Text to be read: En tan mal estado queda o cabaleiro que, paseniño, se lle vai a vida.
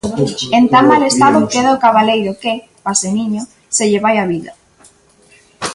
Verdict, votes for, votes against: rejected, 0, 2